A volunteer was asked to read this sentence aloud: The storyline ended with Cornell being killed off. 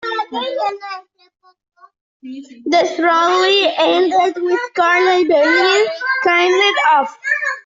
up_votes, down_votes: 0, 2